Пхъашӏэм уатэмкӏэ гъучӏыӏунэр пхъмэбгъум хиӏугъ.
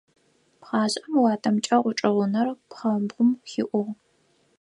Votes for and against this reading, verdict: 4, 2, accepted